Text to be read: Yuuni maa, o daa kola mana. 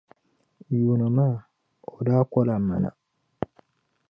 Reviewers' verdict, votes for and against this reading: accepted, 2, 0